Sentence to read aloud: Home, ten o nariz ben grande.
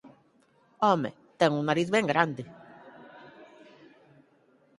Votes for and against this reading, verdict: 4, 2, accepted